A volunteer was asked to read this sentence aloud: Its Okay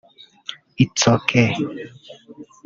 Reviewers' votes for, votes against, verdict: 1, 2, rejected